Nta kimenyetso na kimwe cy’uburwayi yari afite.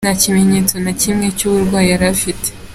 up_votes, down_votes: 3, 0